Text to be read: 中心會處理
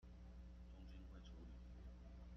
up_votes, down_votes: 0, 2